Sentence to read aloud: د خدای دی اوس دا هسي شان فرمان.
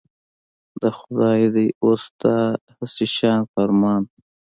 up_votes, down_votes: 0, 2